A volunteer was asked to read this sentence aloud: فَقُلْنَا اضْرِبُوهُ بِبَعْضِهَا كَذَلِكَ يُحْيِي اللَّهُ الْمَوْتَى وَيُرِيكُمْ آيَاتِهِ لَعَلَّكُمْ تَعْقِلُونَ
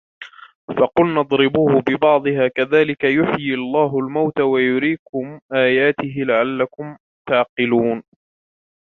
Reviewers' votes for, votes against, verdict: 1, 2, rejected